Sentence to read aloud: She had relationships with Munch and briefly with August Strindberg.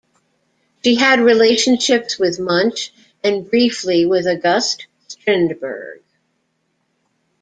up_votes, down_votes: 0, 2